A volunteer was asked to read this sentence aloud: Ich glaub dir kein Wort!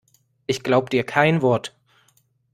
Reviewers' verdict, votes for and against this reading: accepted, 2, 0